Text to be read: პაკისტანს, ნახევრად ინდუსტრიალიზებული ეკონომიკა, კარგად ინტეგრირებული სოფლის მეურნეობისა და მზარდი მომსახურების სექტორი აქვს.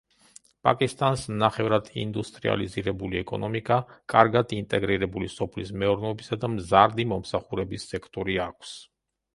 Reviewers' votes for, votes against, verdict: 1, 4, rejected